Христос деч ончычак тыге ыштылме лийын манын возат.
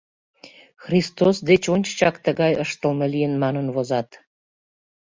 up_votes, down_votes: 0, 2